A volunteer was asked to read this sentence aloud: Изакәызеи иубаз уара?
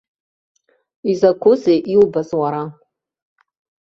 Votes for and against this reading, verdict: 0, 2, rejected